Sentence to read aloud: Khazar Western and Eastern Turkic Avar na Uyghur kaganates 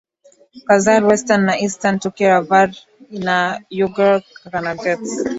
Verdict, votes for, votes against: accepted, 2, 0